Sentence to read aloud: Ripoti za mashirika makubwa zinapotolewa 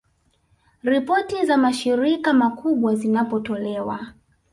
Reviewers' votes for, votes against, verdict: 2, 0, accepted